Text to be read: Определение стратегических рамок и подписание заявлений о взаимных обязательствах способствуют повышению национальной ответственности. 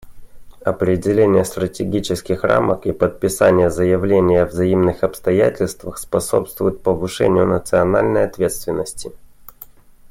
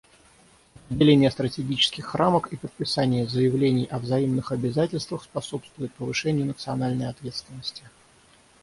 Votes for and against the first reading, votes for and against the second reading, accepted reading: 2, 1, 3, 3, first